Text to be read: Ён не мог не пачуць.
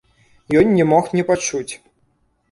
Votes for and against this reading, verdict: 2, 0, accepted